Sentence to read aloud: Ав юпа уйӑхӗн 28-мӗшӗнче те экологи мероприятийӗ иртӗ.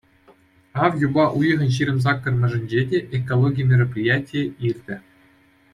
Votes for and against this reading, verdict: 0, 2, rejected